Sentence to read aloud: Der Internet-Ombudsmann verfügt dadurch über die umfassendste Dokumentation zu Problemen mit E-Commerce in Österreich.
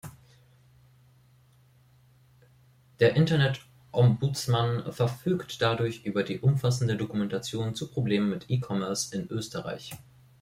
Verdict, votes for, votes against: rejected, 0, 2